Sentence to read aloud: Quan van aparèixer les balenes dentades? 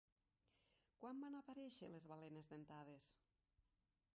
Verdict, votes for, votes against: rejected, 0, 3